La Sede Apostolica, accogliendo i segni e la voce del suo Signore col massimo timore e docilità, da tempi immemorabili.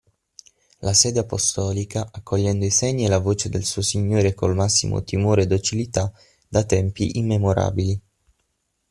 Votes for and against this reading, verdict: 6, 0, accepted